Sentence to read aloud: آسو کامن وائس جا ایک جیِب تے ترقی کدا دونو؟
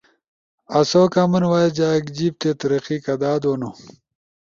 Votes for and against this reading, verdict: 2, 0, accepted